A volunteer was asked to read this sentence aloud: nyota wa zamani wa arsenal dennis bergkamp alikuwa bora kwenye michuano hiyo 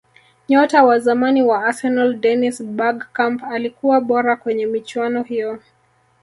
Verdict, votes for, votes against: rejected, 1, 2